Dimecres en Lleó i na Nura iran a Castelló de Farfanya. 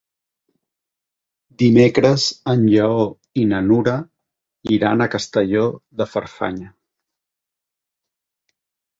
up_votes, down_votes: 3, 0